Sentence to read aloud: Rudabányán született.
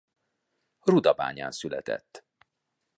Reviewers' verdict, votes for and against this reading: accepted, 2, 0